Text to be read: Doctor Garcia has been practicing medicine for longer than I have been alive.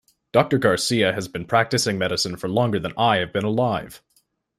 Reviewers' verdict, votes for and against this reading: accepted, 2, 0